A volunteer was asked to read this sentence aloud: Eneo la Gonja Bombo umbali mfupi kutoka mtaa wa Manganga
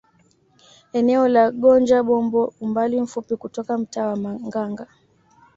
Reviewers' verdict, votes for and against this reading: accepted, 2, 0